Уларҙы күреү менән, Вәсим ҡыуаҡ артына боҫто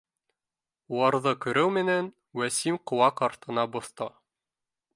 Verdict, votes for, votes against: accepted, 2, 0